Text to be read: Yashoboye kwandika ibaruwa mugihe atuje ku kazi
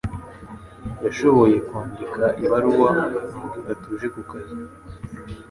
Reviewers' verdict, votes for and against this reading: accepted, 3, 0